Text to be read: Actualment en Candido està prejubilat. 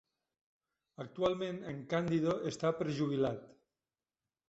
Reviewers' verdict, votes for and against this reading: rejected, 0, 2